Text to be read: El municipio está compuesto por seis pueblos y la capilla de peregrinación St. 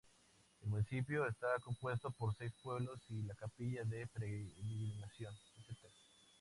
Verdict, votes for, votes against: rejected, 0, 4